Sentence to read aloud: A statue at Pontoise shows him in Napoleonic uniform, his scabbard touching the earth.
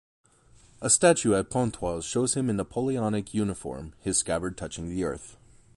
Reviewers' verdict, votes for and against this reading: accepted, 2, 0